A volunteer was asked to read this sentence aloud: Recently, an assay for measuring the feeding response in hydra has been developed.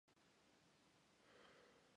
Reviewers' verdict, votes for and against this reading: rejected, 0, 2